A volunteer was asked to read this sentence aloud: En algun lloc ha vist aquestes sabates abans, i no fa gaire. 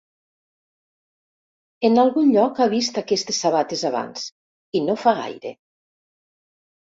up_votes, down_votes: 1, 2